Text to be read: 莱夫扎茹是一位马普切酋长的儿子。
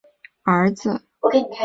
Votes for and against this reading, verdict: 1, 6, rejected